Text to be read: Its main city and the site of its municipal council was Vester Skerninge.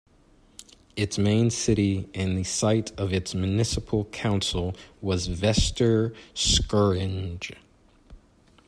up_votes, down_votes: 0, 2